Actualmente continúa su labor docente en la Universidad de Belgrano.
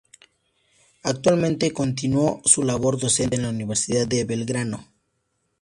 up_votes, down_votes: 0, 2